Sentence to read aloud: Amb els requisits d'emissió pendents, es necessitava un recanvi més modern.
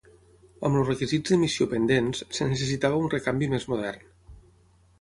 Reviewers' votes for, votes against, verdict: 0, 6, rejected